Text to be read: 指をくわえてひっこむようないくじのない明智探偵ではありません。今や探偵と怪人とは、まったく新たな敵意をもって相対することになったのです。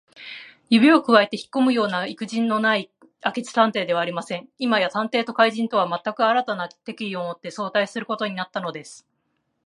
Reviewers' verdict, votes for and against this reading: accepted, 2, 0